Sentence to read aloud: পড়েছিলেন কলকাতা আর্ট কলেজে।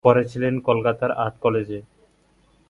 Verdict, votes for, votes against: rejected, 0, 2